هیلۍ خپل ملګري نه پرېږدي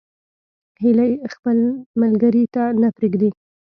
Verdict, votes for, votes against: rejected, 0, 2